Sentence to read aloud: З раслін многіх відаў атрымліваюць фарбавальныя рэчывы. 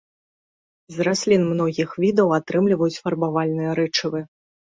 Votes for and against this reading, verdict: 2, 0, accepted